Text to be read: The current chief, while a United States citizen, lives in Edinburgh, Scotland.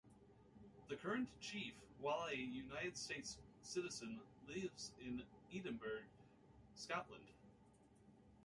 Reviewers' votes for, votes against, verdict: 2, 1, accepted